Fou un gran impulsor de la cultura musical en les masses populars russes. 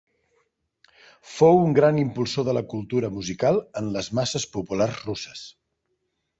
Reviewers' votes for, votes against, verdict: 2, 0, accepted